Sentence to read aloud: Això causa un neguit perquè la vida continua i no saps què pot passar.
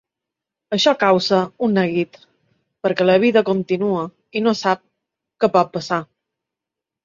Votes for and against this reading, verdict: 0, 2, rejected